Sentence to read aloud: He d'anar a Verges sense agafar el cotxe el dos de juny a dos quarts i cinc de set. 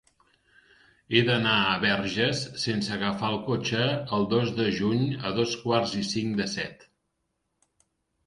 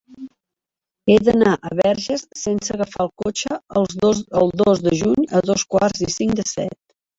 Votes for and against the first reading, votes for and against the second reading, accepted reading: 4, 0, 0, 2, first